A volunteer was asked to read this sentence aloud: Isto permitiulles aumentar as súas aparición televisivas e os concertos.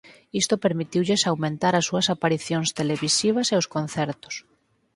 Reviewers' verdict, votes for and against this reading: accepted, 4, 2